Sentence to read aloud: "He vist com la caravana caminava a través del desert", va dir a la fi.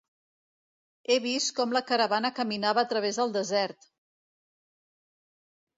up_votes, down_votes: 0, 2